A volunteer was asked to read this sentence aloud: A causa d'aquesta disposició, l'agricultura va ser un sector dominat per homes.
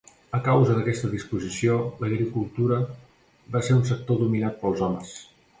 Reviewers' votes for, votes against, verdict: 0, 2, rejected